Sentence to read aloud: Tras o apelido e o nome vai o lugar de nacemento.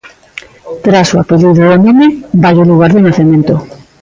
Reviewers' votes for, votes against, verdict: 1, 2, rejected